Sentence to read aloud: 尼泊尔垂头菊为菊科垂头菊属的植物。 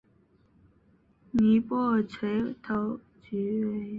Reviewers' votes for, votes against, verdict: 0, 4, rejected